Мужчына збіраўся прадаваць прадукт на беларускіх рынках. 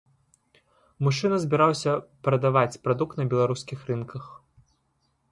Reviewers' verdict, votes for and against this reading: accepted, 2, 0